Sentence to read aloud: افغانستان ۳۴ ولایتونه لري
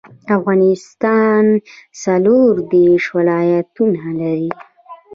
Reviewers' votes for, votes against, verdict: 0, 2, rejected